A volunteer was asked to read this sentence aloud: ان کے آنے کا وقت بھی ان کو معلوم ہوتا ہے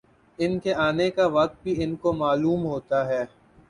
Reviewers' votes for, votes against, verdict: 3, 0, accepted